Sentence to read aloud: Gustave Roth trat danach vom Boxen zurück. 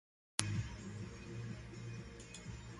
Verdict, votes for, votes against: rejected, 0, 2